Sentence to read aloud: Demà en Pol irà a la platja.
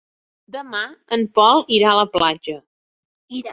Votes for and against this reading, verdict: 1, 2, rejected